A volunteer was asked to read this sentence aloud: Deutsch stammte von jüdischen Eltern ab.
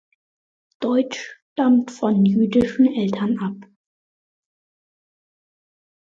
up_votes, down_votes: 1, 2